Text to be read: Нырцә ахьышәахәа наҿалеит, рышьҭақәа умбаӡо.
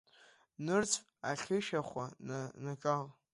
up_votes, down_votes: 0, 2